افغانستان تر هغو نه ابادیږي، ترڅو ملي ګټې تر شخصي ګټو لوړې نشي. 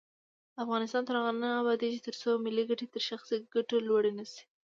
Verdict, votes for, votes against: accepted, 2, 0